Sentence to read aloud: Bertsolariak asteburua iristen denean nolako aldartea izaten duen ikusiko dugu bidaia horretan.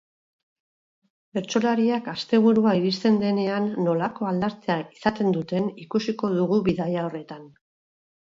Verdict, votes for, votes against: rejected, 2, 4